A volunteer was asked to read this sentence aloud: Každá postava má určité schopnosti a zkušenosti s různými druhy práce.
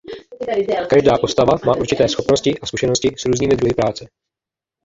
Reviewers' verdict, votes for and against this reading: rejected, 0, 2